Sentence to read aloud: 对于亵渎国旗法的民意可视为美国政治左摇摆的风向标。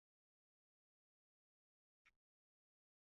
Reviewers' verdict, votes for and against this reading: rejected, 1, 4